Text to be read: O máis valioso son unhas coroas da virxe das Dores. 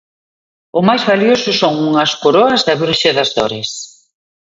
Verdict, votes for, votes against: accepted, 2, 0